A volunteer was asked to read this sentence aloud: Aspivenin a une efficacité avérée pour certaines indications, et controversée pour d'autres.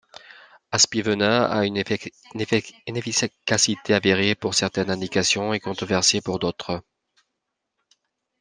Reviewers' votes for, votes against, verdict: 0, 2, rejected